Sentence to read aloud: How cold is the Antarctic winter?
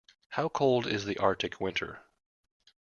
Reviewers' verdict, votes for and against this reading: rejected, 0, 2